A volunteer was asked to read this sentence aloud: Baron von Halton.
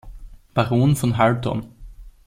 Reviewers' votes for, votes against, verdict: 1, 2, rejected